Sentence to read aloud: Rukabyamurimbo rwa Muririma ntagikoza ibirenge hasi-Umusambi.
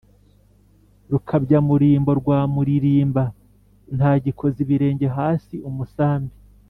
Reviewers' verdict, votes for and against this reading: rejected, 1, 2